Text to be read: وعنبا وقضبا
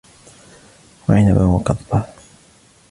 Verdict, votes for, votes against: accepted, 2, 1